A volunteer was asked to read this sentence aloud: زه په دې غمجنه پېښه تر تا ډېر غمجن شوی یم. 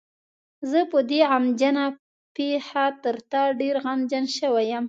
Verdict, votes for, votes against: accepted, 2, 0